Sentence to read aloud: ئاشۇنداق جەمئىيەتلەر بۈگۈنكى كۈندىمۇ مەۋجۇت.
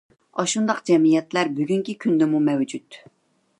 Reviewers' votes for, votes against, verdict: 2, 0, accepted